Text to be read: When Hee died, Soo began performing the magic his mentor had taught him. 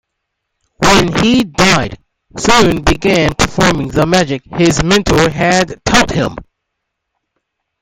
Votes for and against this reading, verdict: 0, 2, rejected